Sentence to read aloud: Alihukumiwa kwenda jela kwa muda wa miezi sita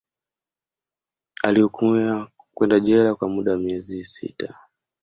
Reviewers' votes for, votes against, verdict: 2, 0, accepted